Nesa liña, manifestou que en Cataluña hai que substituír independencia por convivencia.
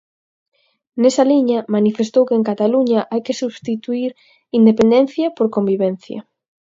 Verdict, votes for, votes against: accepted, 6, 0